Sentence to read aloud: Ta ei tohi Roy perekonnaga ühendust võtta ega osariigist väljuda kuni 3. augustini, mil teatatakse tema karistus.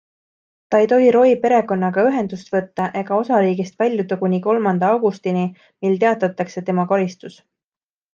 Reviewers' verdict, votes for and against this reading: rejected, 0, 2